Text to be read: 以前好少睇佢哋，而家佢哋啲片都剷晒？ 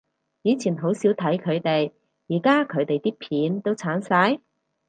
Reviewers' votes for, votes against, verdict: 4, 0, accepted